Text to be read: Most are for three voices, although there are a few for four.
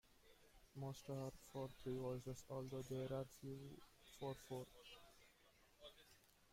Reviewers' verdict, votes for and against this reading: rejected, 0, 2